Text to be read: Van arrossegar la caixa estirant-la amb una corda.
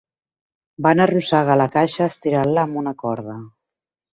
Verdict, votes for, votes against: accepted, 3, 0